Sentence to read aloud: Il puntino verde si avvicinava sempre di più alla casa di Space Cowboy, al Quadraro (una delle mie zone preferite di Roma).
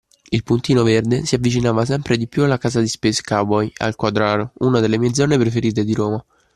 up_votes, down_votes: 2, 0